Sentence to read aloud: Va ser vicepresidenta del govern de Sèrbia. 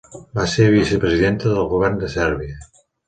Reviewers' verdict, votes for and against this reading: accepted, 2, 0